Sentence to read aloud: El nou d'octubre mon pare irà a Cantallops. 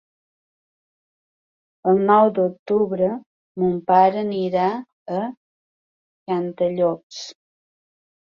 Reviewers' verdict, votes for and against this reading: rejected, 1, 2